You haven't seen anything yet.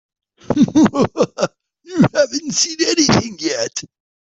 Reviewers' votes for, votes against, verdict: 0, 3, rejected